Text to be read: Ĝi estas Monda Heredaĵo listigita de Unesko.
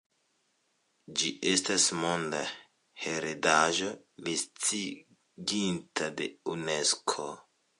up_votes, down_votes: 1, 2